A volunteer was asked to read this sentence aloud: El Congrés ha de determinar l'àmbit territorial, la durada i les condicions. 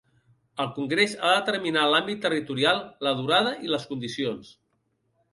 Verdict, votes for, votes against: rejected, 1, 2